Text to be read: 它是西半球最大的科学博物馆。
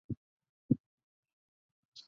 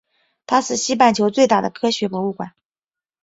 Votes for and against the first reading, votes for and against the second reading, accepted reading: 0, 2, 3, 0, second